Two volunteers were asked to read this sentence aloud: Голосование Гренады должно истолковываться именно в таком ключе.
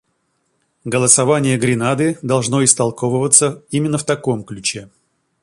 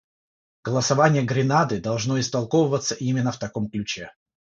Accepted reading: first